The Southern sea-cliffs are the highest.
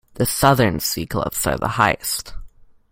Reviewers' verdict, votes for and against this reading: accepted, 2, 0